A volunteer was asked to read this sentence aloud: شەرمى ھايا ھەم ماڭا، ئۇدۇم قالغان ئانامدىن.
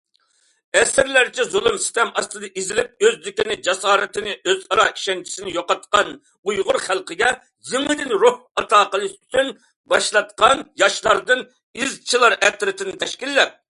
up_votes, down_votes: 0, 2